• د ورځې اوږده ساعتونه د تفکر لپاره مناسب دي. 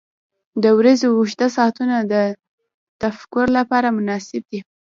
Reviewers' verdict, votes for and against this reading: rejected, 1, 2